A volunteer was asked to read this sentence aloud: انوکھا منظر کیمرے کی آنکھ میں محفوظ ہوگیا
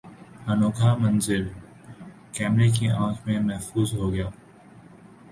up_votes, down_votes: 2, 0